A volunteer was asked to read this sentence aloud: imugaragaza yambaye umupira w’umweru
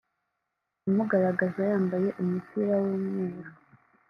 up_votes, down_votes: 0, 2